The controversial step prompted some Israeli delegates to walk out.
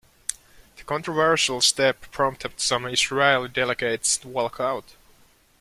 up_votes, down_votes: 2, 0